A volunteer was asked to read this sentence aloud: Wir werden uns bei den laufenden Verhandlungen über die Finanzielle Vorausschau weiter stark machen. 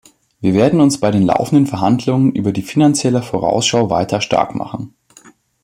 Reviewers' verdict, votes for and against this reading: accepted, 2, 0